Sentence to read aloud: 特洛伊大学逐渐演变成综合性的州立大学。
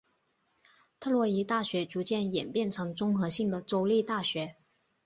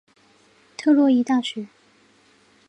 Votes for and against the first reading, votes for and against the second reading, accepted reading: 4, 0, 0, 3, first